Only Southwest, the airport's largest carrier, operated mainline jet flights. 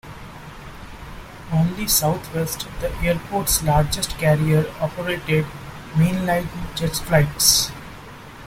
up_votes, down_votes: 2, 0